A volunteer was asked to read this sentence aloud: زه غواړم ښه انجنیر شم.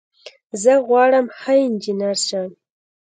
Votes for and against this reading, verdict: 2, 0, accepted